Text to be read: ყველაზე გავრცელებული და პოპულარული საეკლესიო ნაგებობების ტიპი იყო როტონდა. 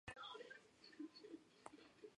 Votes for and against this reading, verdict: 0, 2, rejected